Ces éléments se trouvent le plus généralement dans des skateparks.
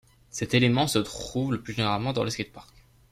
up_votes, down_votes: 0, 2